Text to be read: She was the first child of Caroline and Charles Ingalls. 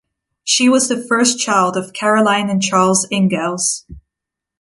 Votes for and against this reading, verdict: 2, 0, accepted